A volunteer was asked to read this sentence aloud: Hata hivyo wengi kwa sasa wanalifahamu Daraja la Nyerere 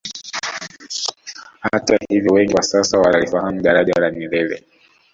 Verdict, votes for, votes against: rejected, 1, 2